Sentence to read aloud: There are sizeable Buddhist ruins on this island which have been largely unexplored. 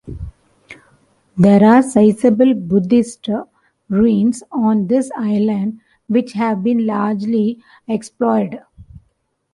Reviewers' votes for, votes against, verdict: 0, 2, rejected